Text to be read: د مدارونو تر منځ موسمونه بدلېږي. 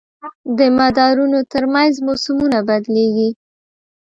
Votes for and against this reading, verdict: 2, 0, accepted